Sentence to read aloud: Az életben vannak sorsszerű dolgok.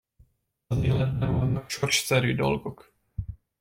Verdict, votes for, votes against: rejected, 1, 2